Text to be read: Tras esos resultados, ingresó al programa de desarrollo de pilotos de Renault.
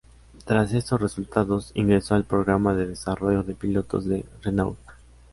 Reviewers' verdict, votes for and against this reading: accepted, 2, 0